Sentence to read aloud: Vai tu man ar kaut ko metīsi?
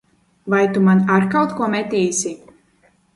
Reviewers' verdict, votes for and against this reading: accepted, 2, 0